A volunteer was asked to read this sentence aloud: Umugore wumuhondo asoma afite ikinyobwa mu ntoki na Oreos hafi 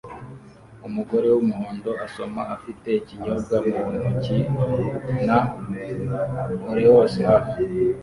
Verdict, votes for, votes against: rejected, 0, 2